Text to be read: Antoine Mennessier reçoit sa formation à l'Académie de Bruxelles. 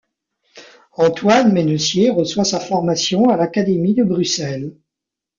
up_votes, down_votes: 2, 0